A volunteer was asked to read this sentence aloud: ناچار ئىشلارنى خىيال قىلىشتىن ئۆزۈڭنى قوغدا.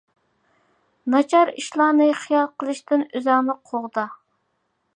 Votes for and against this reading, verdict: 2, 0, accepted